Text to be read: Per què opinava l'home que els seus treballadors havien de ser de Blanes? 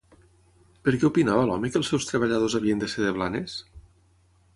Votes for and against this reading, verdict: 6, 0, accepted